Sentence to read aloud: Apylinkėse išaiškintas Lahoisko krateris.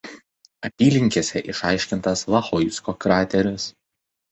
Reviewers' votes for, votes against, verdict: 2, 0, accepted